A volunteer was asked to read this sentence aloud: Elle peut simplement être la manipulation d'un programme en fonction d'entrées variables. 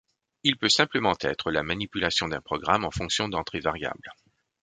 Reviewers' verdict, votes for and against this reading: rejected, 1, 2